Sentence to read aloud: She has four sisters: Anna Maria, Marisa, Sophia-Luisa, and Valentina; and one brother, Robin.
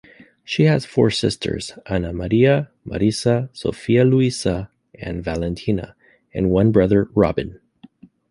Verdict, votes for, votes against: accepted, 2, 0